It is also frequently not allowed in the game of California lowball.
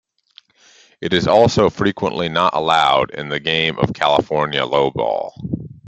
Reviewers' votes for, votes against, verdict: 2, 0, accepted